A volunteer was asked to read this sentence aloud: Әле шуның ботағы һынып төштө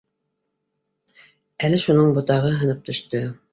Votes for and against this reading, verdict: 2, 0, accepted